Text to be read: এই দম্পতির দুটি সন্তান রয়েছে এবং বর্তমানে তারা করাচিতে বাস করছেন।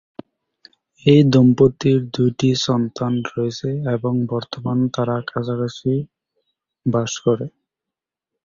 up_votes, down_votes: 2, 10